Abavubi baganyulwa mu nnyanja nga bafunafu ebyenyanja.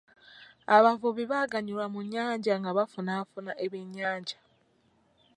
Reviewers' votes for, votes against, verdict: 1, 2, rejected